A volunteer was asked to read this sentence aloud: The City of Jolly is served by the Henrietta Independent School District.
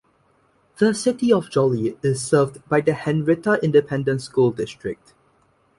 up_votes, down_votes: 1, 2